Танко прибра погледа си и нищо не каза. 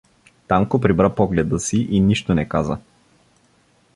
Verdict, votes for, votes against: accepted, 2, 0